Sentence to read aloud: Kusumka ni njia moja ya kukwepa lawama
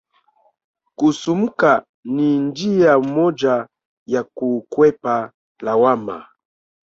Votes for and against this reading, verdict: 0, 2, rejected